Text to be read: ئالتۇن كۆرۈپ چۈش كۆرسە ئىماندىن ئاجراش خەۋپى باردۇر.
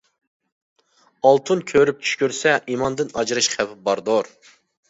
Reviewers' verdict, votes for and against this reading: rejected, 1, 2